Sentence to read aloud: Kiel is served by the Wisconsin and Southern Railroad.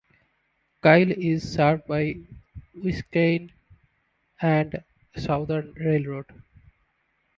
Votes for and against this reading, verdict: 0, 3, rejected